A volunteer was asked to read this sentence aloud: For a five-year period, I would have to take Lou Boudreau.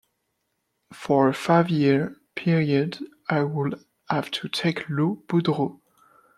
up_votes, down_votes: 2, 0